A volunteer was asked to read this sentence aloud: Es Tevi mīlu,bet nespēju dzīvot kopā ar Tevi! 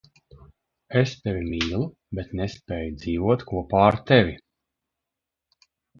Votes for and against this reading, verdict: 1, 2, rejected